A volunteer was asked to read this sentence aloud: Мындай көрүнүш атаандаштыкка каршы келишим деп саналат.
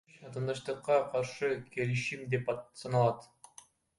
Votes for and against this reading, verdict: 0, 2, rejected